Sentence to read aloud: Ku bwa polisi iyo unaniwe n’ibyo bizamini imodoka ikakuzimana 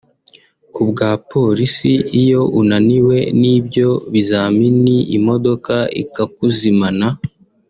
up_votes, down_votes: 2, 1